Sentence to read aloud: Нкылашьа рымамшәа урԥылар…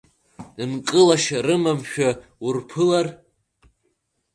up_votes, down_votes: 2, 1